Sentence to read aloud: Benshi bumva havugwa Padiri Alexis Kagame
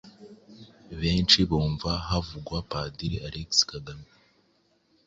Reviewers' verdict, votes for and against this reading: accepted, 3, 0